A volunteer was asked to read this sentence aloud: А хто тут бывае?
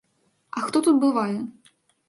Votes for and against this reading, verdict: 2, 0, accepted